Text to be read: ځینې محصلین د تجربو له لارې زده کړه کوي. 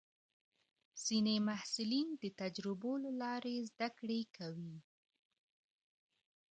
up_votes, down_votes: 2, 0